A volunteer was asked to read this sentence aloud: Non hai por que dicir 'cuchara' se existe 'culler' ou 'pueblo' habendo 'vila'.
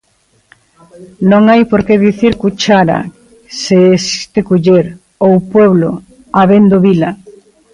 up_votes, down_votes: 1, 2